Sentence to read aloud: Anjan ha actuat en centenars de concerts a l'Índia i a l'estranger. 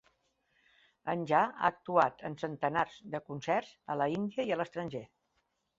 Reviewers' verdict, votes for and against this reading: accepted, 2, 0